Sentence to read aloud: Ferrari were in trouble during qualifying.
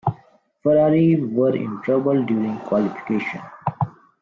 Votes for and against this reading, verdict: 0, 2, rejected